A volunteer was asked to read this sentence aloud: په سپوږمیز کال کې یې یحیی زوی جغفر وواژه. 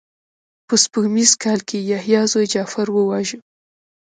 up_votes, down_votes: 3, 1